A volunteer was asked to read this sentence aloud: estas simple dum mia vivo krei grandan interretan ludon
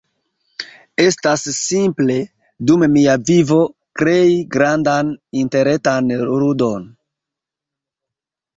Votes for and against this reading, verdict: 0, 2, rejected